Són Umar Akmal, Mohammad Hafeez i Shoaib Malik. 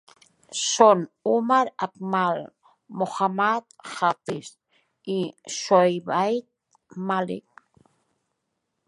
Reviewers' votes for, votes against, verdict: 1, 2, rejected